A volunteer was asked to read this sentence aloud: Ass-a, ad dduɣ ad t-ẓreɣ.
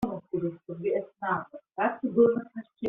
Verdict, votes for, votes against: rejected, 0, 2